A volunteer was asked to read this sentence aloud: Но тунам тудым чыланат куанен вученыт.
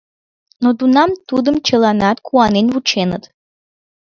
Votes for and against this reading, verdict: 1, 3, rejected